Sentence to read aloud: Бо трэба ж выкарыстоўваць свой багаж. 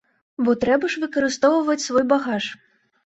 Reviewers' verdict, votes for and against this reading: accepted, 2, 0